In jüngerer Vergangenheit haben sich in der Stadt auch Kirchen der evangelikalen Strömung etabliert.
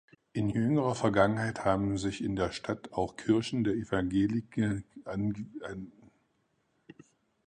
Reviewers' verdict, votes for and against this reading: rejected, 0, 4